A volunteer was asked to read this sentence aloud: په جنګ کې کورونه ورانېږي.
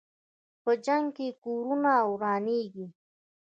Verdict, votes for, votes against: accepted, 2, 0